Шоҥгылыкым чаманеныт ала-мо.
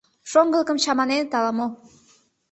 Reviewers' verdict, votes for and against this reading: accepted, 2, 0